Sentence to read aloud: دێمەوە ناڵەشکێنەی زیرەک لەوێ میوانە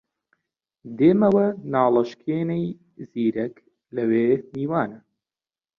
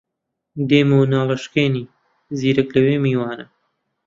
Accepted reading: first